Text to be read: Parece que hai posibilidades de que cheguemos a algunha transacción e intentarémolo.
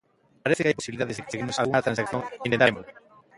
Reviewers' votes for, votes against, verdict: 0, 2, rejected